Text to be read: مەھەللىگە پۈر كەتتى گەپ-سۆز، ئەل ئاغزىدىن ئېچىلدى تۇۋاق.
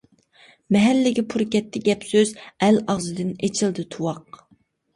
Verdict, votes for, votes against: accepted, 2, 0